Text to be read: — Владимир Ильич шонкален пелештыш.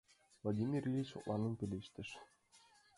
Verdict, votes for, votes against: rejected, 0, 2